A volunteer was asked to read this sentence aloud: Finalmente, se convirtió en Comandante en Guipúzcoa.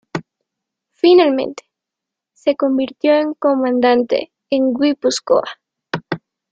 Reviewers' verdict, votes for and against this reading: rejected, 0, 3